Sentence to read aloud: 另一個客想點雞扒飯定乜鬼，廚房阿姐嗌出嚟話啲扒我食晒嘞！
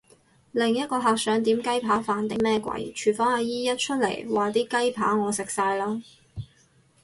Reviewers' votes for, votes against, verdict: 0, 4, rejected